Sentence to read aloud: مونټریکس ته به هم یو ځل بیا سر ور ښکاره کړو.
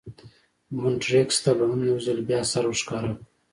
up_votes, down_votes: 0, 2